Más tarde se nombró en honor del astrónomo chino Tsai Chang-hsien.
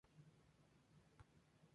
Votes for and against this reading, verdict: 0, 2, rejected